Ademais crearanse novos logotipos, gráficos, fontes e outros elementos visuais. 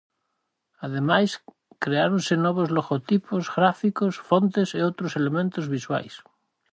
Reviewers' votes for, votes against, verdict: 0, 4, rejected